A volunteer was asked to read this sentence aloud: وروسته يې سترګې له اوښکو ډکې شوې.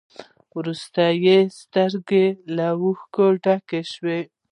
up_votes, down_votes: 1, 2